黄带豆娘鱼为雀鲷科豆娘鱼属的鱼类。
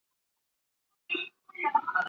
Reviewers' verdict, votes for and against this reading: rejected, 0, 2